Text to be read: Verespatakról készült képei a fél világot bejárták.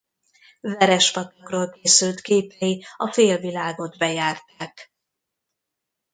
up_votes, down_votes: 0, 2